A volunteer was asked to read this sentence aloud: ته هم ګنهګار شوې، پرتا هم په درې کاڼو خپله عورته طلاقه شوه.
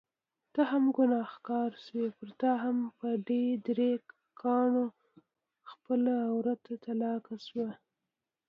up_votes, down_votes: 1, 2